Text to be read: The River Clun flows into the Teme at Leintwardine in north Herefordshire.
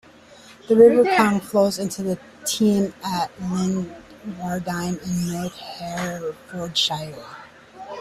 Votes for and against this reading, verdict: 0, 2, rejected